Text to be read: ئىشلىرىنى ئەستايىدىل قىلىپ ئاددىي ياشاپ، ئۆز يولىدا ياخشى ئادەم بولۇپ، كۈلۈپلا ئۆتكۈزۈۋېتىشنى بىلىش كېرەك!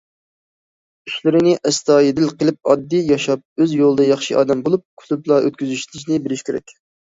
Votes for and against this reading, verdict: 1, 2, rejected